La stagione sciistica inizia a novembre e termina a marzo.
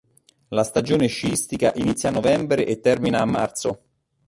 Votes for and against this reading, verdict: 2, 1, accepted